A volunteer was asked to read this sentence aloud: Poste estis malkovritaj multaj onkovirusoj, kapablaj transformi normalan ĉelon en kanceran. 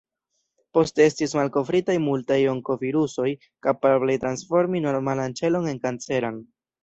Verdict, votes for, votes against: accepted, 2, 0